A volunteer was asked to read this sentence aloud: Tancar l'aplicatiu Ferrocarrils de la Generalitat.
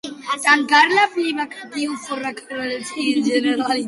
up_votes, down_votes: 0, 2